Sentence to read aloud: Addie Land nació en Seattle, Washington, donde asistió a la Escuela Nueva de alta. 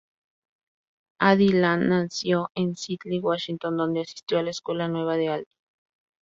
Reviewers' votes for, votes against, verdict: 0, 2, rejected